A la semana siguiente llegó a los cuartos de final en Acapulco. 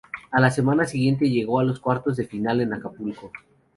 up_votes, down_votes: 2, 2